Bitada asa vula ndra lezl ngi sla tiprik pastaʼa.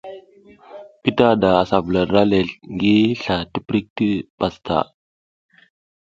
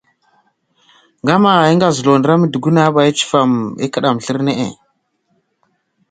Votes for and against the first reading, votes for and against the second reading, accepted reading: 2, 0, 0, 2, first